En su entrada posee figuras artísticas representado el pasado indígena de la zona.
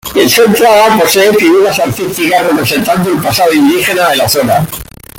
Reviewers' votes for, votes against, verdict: 2, 0, accepted